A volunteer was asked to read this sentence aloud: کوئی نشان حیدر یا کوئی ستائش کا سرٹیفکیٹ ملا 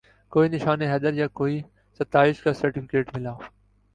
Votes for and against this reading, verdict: 3, 0, accepted